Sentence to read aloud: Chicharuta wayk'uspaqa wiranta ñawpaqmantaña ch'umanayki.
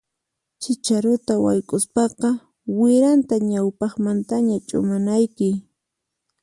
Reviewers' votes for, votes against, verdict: 4, 0, accepted